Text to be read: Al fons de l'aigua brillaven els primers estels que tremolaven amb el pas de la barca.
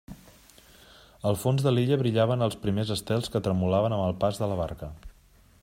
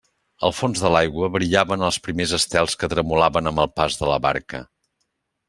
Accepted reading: second